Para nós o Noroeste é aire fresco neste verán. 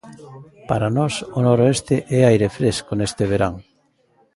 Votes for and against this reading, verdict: 1, 2, rejected